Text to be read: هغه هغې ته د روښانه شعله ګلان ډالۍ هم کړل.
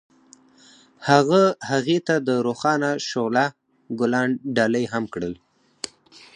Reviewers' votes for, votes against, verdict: 4, 2, accepted